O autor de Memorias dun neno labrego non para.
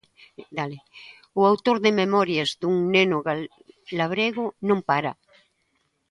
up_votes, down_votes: 0, 2